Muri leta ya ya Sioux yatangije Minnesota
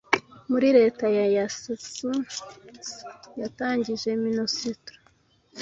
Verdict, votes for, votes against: rejected, 1, 2